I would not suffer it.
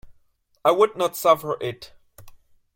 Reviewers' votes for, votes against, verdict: 3, 0, accepted